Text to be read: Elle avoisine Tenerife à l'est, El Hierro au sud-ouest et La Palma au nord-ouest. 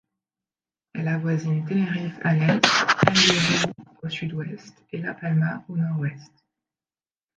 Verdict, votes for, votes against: rejected, 0, 2